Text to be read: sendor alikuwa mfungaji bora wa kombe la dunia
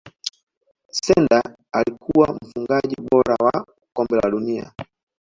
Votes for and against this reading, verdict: 1, 2, rejected